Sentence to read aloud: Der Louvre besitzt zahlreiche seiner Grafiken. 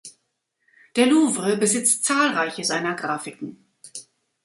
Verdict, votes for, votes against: accepted, 2, 0